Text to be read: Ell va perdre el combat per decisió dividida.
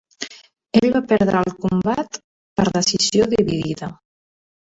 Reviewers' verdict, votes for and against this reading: accepted, 3, 1